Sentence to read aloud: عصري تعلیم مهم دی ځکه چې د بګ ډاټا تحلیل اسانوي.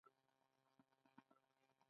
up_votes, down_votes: 2, 0